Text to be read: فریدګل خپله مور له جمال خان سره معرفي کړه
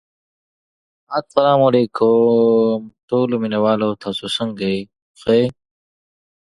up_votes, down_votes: 0, 2